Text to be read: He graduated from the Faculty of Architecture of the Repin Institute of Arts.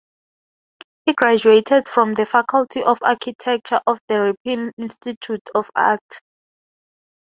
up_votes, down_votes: 2, 4